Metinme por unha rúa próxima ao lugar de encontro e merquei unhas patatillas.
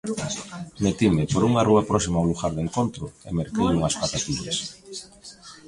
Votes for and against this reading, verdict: 1, 2, rejected